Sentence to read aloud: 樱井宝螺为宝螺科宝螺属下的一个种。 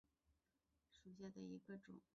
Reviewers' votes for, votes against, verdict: 0, 2, rejected